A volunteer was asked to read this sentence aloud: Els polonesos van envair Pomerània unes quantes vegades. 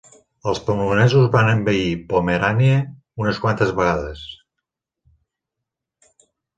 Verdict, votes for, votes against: accepted, 2, 1